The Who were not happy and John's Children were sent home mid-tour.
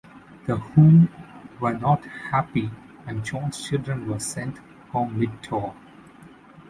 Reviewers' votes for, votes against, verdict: 2, 0, accepted